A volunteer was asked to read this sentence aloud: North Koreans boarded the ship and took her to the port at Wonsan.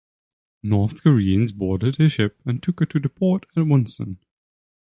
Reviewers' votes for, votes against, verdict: 1, 2, rejected